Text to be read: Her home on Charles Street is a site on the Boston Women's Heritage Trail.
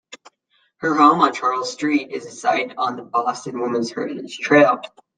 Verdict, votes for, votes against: accepted, 2, 0